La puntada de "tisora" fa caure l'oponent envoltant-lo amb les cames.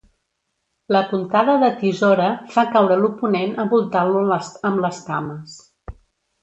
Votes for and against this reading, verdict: 0, 2, rejected